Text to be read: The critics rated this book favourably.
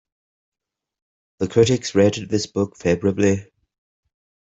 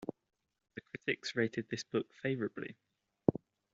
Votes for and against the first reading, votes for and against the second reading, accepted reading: 2, 1, 1, 2, first